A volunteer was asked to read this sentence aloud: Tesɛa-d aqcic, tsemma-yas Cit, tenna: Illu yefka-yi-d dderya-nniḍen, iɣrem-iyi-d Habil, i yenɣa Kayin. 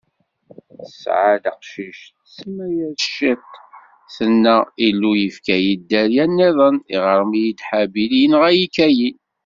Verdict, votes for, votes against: rejected, 1, 2